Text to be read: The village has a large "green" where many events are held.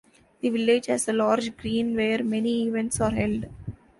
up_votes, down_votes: 0, 2